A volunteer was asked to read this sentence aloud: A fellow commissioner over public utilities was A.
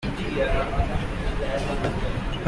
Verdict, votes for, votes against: rejected, 0, 2